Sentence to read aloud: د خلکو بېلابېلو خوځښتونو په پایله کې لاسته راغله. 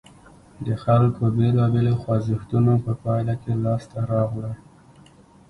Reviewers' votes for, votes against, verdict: 2, 0, accepted